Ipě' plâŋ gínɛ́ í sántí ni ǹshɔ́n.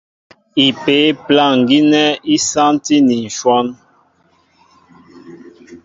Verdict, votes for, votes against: accepted, 2, 0